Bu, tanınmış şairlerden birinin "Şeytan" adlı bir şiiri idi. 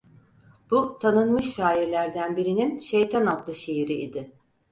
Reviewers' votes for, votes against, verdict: 2, 4, rejected